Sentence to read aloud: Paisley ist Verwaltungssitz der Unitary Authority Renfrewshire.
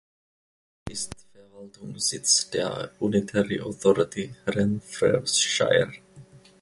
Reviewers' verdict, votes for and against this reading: rejected, 0, 2